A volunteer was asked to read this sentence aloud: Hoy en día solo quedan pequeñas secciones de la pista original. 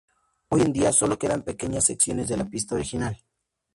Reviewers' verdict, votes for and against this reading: accepted, 2, 0